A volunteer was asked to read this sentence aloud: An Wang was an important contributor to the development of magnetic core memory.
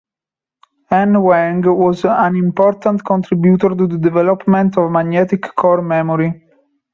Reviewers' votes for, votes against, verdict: 3, 0, accepted